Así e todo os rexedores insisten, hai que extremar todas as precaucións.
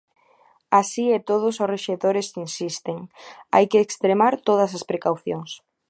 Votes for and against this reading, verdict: 1, 2, rejected